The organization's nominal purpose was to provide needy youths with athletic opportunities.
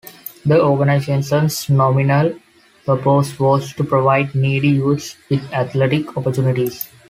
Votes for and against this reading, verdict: 2, 0, accepted